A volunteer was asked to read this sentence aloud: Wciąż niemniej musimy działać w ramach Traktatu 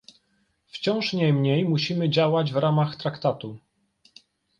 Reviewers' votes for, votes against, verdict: 2, 0, accepted